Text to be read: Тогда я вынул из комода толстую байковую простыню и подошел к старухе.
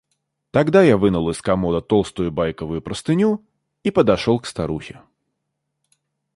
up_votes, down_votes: 2, 0